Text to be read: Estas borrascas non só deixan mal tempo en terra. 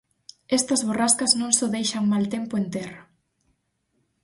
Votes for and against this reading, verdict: 4, 0, accepted